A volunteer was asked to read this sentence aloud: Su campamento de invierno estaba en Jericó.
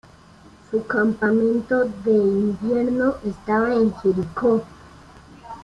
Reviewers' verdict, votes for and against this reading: accepted, 2, 0